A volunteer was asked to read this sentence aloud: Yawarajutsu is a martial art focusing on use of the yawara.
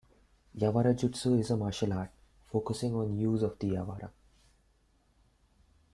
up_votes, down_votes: 0, 2